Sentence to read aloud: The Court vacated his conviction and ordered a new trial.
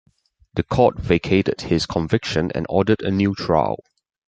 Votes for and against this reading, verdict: 2, 0, accepted